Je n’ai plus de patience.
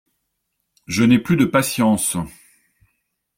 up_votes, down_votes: 2, 0